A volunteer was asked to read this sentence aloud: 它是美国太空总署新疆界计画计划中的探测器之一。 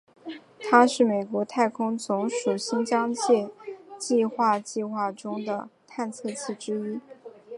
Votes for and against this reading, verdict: 4, 0, accepted